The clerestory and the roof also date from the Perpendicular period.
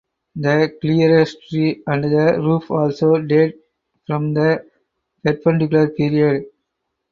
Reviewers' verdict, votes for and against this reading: rejected, 2, 2